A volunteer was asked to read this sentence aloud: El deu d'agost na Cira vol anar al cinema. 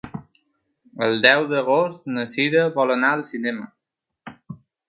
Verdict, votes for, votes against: accepted, 3, 0